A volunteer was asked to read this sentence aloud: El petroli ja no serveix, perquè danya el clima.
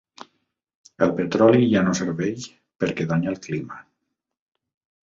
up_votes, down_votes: 3, 0